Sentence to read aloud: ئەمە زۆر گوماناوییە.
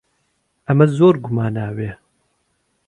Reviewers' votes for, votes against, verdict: 2, 0, accepted